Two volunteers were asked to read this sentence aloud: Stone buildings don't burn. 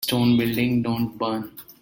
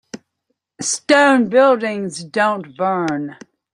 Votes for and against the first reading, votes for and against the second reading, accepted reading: 1, 2, 2, 0, second